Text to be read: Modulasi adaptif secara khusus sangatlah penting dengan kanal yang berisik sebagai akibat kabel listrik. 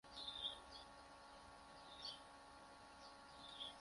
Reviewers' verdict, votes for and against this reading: rejected, 0, 2